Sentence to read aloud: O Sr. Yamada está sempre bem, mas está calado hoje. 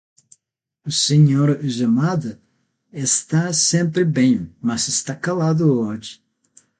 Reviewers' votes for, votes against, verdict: 3, 6, rejected